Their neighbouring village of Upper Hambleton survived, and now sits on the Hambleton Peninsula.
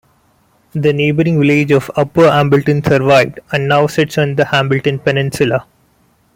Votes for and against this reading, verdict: 1, 2, rejected